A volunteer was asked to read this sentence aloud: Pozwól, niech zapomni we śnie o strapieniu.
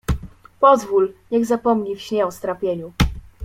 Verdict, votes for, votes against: rejected, 0, 2